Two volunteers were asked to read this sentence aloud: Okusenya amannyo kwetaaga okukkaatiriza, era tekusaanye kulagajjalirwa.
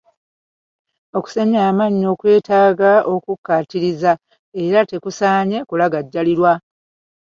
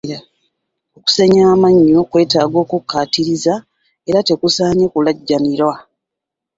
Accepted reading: first